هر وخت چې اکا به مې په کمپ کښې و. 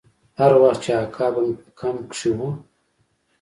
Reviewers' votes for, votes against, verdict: 1, 2, rejected